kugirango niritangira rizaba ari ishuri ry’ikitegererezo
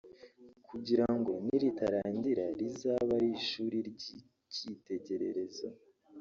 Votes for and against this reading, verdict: 1, 2, rejected